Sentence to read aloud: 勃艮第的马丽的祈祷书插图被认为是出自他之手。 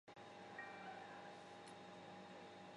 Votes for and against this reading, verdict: 0, 2, rejected